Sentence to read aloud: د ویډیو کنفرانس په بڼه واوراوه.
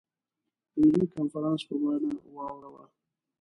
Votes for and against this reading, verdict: 1, 2, rejected